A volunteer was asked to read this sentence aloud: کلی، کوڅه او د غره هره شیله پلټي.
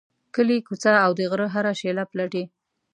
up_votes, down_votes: 2, 0